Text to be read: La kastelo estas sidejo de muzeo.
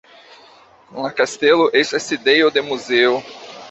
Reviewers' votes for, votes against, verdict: 1, 2, rejected